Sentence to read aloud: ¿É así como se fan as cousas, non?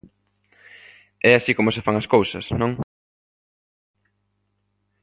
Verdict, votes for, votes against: accepted, 2, 0